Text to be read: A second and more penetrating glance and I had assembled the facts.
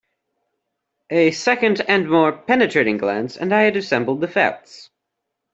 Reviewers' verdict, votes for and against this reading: accepted, 2, 0